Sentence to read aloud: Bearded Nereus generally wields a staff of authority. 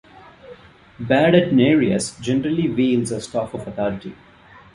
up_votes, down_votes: 0, 2